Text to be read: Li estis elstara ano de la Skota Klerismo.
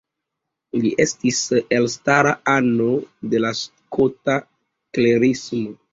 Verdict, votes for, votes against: accepted, 3, 0